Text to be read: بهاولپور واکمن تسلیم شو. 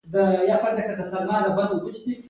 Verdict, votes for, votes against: accepted, 2, 0